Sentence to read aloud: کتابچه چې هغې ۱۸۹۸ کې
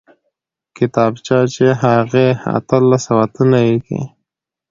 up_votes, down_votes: 0, 2